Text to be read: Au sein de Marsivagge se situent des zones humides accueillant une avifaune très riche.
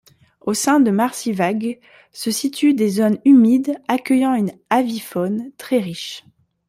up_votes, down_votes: 1, 2